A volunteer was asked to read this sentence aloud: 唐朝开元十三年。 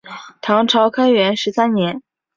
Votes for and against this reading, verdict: 3, 0, accepted